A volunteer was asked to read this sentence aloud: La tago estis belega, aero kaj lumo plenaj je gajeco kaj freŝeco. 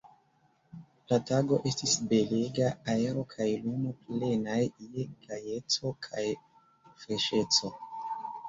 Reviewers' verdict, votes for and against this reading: rejected, 1, 2